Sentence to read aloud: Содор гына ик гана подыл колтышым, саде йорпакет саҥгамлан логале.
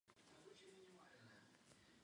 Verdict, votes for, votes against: rejected, 1, 2